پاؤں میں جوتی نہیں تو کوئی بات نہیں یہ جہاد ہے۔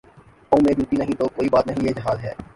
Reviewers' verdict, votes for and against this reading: rejected, 1, 2